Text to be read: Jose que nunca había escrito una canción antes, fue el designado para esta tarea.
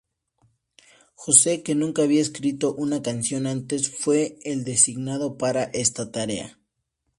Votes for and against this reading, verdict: 2, 0, accepted